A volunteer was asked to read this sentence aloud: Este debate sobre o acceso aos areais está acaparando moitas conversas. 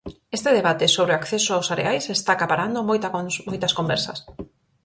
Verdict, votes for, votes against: rejected, 0, 4